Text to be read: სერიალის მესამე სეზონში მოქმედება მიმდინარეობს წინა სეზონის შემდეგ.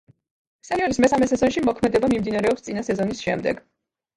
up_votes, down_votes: 0, 2